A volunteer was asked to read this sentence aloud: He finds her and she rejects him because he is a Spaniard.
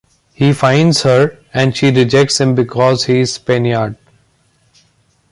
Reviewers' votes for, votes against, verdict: 0, 2, rejected